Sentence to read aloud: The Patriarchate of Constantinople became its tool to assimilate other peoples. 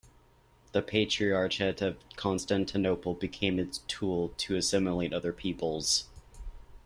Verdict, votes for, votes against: accepted, 2, 1